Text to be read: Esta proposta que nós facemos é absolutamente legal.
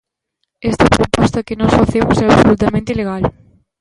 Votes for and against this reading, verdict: 1, 2, rejected